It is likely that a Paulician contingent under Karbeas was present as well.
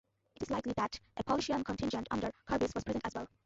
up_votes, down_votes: 0, 2